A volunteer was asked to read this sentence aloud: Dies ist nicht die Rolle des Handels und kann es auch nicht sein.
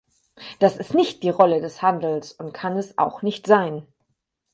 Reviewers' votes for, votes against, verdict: 2, 4, rejected